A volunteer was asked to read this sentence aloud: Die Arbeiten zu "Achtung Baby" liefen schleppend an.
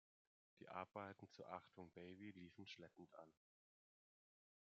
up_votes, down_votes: 2, 1